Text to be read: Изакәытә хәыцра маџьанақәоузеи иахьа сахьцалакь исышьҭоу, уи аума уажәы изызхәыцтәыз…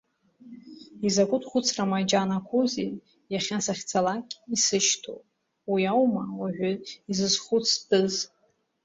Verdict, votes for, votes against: accepted, 2, 0